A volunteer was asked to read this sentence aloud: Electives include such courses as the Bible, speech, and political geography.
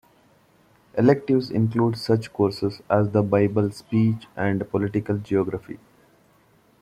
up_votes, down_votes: 2, 0